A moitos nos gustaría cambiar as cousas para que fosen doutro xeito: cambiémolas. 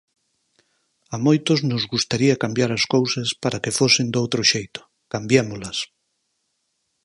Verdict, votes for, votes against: accepted, 4, 0